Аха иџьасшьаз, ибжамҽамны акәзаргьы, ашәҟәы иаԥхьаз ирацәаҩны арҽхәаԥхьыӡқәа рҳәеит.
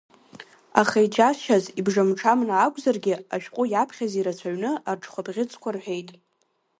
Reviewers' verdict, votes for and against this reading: accepted, 3, 0